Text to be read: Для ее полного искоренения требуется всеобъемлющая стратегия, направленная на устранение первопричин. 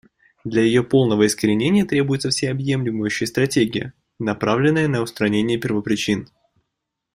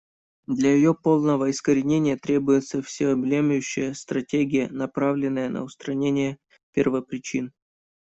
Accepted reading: first